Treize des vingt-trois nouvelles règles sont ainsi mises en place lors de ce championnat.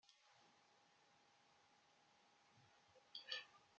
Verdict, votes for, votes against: rejected, 0, 2